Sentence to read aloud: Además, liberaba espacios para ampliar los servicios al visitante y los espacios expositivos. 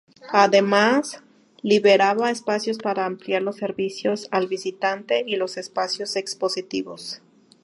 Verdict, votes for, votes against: accepted, 2, 0